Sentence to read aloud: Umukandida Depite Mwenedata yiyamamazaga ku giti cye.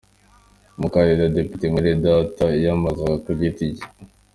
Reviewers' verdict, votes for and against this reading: accepted, 2, 0